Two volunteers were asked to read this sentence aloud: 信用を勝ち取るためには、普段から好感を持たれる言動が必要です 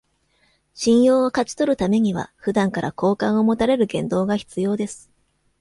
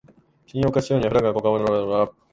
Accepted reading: first